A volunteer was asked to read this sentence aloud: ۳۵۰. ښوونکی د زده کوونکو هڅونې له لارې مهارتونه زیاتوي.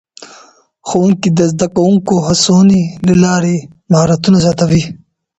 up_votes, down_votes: 0, 2